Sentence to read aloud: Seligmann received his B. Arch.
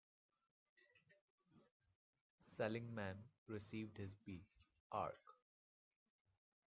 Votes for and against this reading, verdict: 0, 2, rejected